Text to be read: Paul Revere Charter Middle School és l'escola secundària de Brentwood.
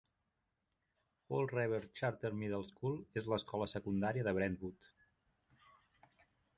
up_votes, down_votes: 4, 0